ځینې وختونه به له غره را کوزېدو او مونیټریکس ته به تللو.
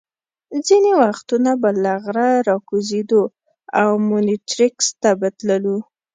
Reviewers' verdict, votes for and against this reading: accepted, 2, 0